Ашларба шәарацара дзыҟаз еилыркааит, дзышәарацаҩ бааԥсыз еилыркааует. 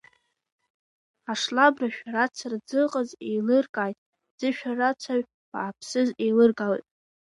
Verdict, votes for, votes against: rejected, 0, 2